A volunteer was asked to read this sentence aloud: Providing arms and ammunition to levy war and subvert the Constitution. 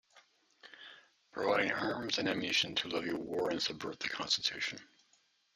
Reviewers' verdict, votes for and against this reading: rejected, 0, 2